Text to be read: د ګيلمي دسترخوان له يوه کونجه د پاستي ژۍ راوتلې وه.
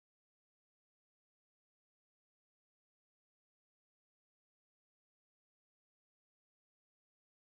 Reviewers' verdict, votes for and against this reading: rejected, 1, 2